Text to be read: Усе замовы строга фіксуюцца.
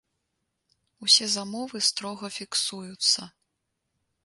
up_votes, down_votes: 2, 0